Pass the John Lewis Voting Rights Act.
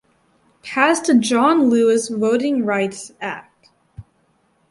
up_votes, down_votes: 4, 2